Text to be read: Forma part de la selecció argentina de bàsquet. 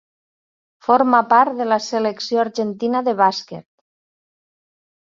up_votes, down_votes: 3, 0